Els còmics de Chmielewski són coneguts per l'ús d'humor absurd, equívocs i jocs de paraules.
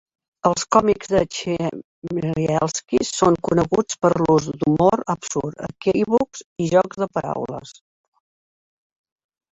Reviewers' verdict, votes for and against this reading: rejected, 0, 2